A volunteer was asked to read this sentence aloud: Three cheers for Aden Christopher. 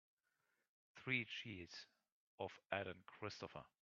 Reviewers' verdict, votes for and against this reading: rejected, 0, 3